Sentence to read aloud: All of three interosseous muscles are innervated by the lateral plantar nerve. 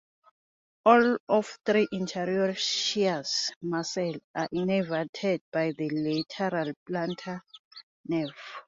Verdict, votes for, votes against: rejected, 1, 2